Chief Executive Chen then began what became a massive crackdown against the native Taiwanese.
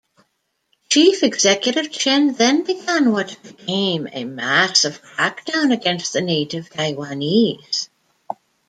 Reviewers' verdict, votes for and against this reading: rejected, 1, 2